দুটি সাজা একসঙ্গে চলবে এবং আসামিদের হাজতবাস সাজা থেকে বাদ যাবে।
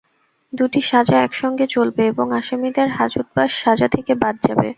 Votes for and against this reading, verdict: 2, 0, accepted